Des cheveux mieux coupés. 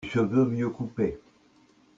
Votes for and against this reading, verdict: 0, 2, rejected